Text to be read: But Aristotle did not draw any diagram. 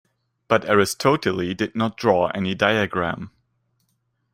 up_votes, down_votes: 0, 2